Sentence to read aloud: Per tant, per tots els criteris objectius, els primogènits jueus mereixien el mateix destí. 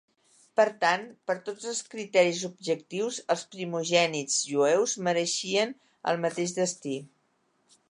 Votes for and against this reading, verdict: 2, 0, accepted